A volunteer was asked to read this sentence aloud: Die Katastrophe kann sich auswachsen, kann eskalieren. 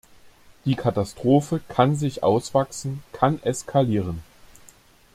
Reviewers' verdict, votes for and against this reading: accepted, 2, 0